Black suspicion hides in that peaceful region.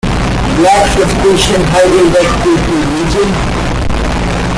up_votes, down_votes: 0, 2